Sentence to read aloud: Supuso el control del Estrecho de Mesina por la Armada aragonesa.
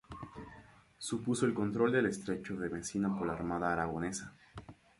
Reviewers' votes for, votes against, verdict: 0, 2, rejected